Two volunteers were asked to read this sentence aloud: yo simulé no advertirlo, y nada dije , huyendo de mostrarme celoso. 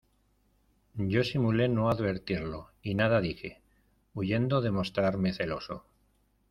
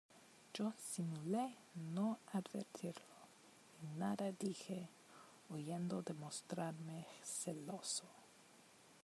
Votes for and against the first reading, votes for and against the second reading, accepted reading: 2, 0, 0, 2, first